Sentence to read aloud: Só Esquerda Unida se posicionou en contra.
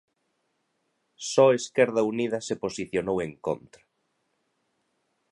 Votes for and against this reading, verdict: 2, 0, accepted